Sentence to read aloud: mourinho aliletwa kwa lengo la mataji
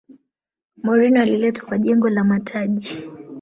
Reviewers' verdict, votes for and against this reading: rejected, 1, 2